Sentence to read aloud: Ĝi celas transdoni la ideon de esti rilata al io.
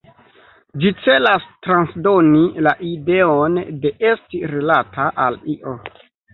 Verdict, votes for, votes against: rejected, 1, 2